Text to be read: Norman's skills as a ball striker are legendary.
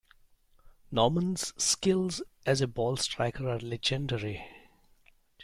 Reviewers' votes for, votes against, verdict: 0, 2, rejected